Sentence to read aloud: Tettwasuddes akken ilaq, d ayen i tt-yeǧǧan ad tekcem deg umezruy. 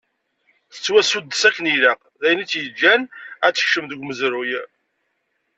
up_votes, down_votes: 2, 0